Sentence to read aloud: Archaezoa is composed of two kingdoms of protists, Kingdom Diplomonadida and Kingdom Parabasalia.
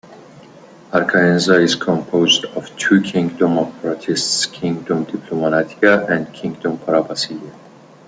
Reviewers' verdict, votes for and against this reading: rejected, 0, 2